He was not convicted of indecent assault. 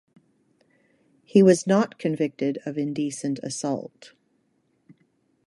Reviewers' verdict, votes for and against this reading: accepted, 2, 0